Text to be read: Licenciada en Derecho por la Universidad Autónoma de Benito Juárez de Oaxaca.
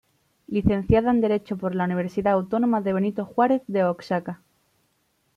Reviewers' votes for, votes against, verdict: 1, 2, rejected